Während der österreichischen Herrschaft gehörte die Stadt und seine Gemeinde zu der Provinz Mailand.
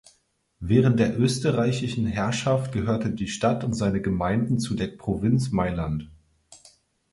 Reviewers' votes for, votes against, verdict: 0, 4, rejected